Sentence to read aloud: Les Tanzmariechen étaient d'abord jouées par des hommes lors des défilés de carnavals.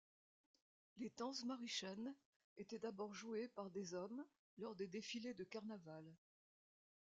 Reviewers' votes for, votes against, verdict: 2, 0, accepted